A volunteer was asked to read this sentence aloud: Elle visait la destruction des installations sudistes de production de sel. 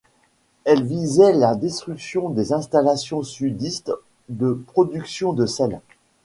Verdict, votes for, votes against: accepted, 2, 0